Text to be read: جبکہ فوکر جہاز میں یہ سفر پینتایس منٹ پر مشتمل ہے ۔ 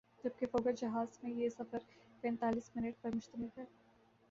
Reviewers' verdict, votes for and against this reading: accepted, 2, 0